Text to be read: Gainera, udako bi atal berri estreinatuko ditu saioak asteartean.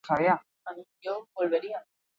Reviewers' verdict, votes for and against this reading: rejected, 0, 2